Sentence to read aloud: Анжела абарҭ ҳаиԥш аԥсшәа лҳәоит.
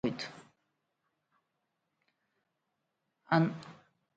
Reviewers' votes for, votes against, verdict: 0, 2, rejected